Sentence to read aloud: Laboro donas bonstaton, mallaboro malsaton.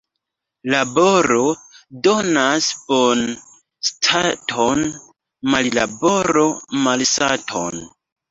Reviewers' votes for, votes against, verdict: 0, 2, rejected